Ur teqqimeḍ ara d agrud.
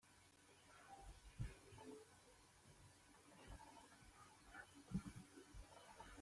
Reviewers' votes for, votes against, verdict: 0, 2, rejected